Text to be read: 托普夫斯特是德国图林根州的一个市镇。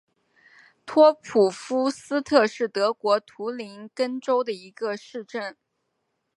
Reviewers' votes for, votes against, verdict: 2, 0, accepted